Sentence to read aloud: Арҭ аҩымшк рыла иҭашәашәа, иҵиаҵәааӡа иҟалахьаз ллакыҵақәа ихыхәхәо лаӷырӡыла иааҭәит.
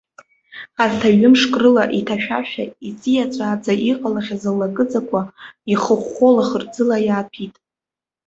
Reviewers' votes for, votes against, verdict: 2, 0, accepted